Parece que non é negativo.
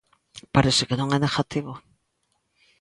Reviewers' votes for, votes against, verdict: 2, 0, accepted